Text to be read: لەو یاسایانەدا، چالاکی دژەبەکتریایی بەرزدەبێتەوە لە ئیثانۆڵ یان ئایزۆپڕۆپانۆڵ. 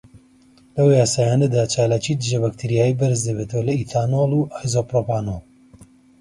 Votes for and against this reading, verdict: 1, 2, rejected